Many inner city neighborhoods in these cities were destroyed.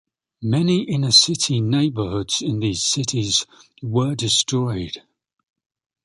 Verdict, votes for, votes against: accepted, 2, 0